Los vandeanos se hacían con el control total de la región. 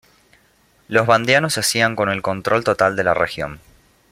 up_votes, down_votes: 2, 0